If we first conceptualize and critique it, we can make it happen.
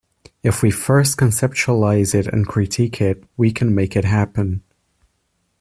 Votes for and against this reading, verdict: 0, 2, rejected